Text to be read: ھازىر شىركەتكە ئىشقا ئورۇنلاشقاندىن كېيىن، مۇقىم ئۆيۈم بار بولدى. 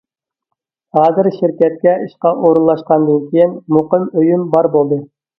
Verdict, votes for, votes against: accepted, 2, 0